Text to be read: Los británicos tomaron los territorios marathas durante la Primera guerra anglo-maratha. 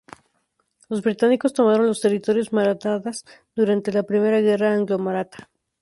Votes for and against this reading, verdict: 0, 2, rejected